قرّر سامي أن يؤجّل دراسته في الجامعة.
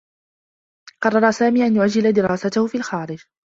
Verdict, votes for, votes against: rejected, 1, 2